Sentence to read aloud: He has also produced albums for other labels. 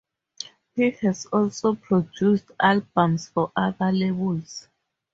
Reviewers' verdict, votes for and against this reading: rejected, 0, 2